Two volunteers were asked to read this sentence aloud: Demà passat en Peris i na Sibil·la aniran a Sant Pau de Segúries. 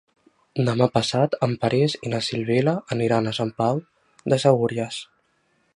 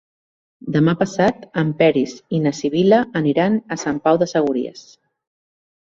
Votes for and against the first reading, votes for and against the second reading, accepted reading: 1, 2, 3, 0, second